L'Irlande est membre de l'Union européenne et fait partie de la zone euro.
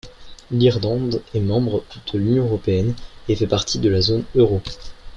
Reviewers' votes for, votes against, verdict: 2, 1, accepted